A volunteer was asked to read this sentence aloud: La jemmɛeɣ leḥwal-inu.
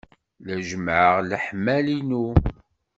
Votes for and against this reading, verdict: 0, 2, rejected